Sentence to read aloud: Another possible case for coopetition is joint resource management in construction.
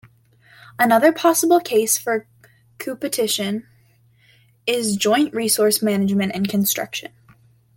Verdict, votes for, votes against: rejected, 0, 2